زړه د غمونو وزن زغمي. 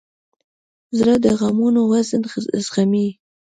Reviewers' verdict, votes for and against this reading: accepted, 2, 0